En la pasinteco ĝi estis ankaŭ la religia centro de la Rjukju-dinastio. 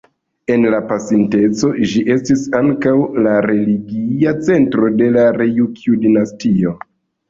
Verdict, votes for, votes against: rejected, 0, 2